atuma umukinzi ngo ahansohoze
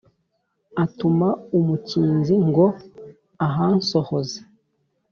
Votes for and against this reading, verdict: 3, 0, accepted